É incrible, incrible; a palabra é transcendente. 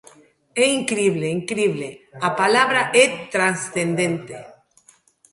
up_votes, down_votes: 1, 2